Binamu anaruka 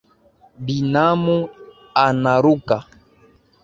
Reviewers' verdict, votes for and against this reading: accepted, 2, 1